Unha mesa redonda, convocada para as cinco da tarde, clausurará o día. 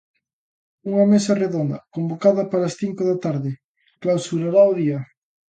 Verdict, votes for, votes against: accepted, 2, 0